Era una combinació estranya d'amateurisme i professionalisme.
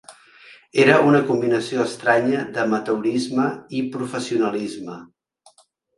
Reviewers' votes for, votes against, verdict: 4, 0, accepted